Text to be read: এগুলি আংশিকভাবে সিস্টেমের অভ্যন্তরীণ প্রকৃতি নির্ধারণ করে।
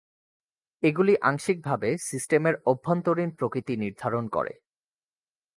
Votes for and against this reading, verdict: 2, 0, accepted